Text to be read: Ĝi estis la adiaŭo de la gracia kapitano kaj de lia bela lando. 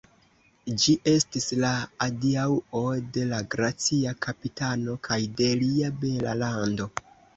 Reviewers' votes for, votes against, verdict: 1, 2, rejected